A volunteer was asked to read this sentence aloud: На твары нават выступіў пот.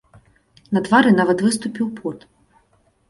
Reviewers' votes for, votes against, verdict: 2, 0, accepted